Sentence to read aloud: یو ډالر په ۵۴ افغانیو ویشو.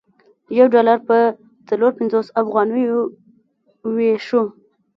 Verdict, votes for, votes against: rejected, 0, 2